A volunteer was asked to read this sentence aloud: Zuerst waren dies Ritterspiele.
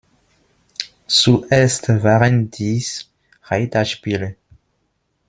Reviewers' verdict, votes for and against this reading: rejected, 0, 2